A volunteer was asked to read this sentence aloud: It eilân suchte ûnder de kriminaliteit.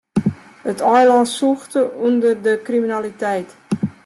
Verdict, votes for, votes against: rejected, 0, 2